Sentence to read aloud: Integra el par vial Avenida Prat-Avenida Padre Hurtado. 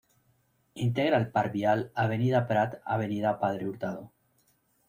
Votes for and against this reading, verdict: 2, 0, accepted